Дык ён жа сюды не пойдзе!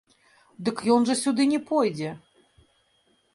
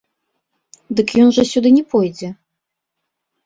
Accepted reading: second